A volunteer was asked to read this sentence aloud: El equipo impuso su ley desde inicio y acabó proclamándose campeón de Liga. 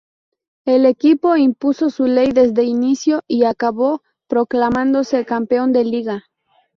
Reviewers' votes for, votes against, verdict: 2, 0, accepted